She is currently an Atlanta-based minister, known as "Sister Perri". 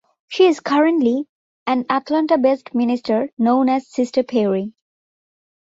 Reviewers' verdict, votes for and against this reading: accepted, 2, 0